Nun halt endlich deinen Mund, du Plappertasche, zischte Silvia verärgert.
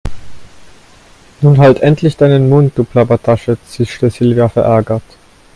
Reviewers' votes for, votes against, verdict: 2, 1, accepted